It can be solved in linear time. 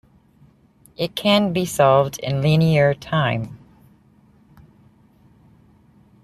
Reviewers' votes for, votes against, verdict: 2, 0, accepted